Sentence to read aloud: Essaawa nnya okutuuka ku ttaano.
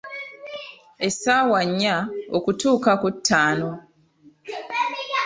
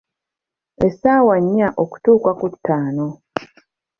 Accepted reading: second